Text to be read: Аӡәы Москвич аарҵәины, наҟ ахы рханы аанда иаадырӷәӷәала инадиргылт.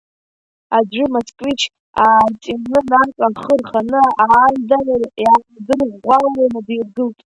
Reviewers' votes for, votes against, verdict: 0, 2, rejected